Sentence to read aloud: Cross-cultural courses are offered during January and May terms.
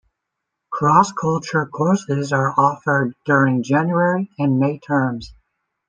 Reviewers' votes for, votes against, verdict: 1, 2, rejected